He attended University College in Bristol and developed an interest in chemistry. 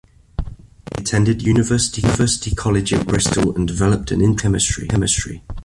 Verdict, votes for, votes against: rejected, 0, 2